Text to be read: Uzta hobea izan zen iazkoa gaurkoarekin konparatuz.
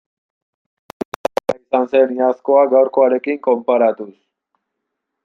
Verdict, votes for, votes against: rejected, 0, 2